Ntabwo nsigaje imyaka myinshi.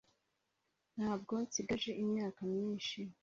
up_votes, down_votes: 2, 0